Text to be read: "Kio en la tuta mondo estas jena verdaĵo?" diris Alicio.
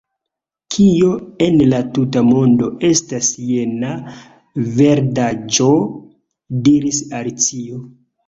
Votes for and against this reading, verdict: 0, 2, rejected